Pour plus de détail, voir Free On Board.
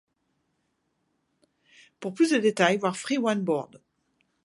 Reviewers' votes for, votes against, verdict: 0, 2, rejected